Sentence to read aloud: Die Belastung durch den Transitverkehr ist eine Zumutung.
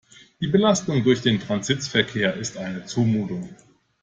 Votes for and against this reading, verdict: 1, 2, rejected